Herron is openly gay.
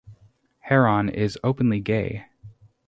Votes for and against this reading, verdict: 2, 2, rejected